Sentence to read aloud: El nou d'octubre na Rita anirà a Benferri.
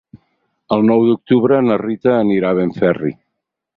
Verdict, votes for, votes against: accepted, 6, 0